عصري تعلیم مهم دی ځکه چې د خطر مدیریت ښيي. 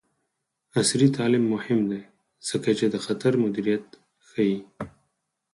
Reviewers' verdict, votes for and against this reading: rejected, 2, 4